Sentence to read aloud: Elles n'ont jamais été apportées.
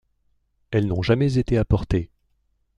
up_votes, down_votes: 3, 0